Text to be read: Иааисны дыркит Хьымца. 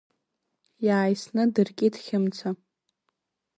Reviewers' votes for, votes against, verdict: 0, 2, rejected